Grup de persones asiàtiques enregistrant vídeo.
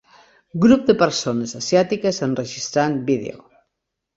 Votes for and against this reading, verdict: 3, 0, accepted